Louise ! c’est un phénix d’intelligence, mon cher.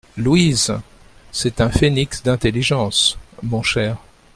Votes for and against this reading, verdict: 2, 0, accepted